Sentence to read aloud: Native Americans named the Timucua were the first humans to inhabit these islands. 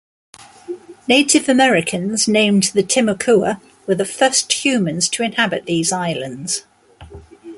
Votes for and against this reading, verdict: 2, 0, accepted